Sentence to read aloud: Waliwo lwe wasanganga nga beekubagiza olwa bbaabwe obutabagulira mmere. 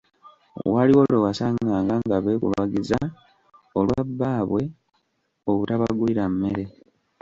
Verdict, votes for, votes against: rejected, 1, 2